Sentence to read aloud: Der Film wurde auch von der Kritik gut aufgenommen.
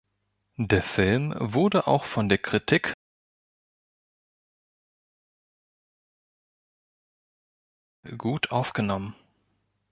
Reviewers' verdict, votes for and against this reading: rejected, 1, 2